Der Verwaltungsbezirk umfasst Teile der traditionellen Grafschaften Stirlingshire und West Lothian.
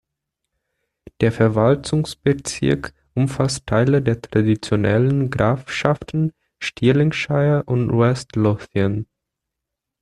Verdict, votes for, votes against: rejected, 1, 2